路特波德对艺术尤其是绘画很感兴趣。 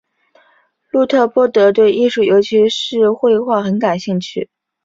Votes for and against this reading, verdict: 2, 0, accepted